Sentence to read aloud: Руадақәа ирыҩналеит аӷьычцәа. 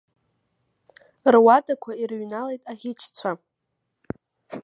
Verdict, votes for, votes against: accepted, 2, 0